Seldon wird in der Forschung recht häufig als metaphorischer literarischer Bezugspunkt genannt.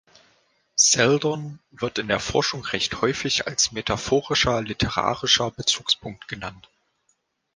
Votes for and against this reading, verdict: 2, 0, accepted